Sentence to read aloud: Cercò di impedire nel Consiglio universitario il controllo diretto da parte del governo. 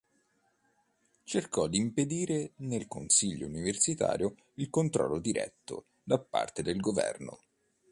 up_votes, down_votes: 2, 0